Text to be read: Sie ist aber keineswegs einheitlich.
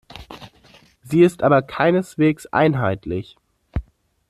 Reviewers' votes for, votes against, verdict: 2, 0, accepted